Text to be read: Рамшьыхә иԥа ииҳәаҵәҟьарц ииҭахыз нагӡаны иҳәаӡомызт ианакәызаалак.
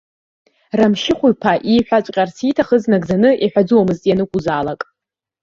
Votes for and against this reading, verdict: 0, 2, rejected